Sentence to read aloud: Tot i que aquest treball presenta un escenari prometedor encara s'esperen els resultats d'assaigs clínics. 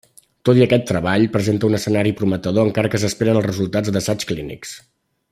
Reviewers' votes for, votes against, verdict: 1, 2, rejected